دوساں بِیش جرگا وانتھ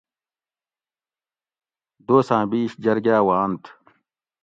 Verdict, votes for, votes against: accepted, 2, 0